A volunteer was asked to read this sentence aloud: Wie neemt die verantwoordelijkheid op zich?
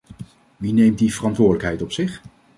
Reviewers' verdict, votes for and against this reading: accepted, 2, 0